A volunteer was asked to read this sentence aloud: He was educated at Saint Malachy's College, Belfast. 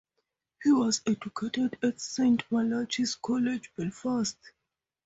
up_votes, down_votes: 0, 2